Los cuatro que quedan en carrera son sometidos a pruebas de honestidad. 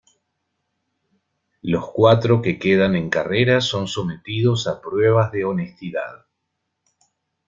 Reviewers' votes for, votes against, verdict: 2, 0, accepted